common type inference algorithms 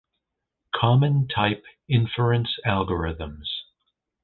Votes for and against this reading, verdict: 2, 0, accepted